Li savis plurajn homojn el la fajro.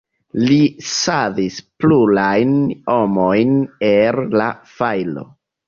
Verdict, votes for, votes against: rejected, 0, 2